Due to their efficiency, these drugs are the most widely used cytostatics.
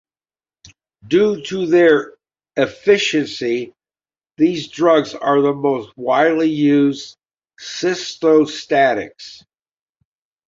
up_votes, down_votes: 2, 1